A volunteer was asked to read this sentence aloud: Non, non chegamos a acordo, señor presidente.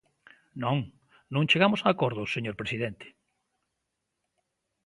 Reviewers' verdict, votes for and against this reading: accepted, 3, 0